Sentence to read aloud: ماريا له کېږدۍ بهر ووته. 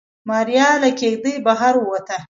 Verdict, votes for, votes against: accepted, 2, 0